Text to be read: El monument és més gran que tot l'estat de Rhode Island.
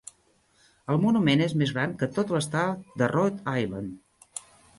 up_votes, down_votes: 1, 2